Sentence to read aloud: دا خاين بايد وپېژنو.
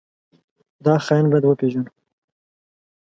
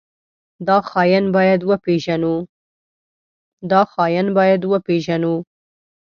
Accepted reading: first